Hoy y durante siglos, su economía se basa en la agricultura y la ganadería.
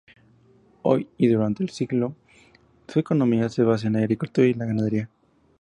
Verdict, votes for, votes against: accepted, 2, 0